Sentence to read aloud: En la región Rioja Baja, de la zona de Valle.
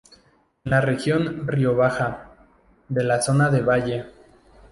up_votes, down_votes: 4, 0